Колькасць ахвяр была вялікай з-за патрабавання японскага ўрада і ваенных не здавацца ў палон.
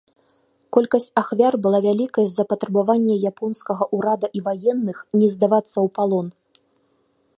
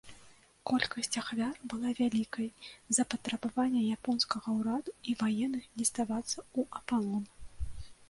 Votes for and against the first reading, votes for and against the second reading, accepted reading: 2, 0, 1, 2, first